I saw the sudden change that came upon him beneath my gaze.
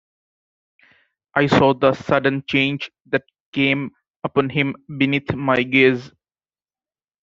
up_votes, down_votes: 1, 2